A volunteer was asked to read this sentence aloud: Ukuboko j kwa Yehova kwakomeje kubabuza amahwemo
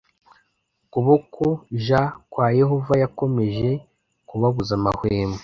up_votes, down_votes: 0, 2